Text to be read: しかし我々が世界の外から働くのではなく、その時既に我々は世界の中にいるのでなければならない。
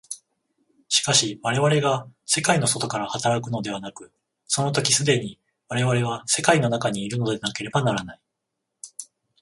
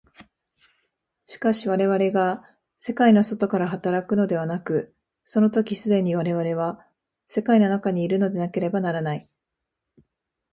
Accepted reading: first